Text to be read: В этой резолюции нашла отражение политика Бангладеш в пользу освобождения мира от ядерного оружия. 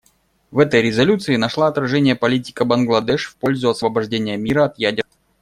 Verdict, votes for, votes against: rejected, 0, 2